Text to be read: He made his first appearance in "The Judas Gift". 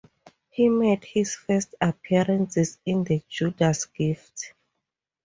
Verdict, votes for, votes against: rejected, 2, 6